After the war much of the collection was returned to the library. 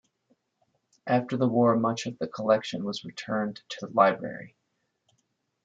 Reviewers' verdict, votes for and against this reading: accepted, 2, 0